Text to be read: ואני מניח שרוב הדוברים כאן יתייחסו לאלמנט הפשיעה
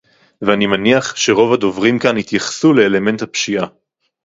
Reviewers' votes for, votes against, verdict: 2, 2, rejected